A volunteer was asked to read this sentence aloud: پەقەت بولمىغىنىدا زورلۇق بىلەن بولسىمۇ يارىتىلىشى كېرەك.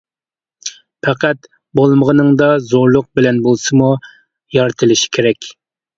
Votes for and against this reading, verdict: 1, 2, rejected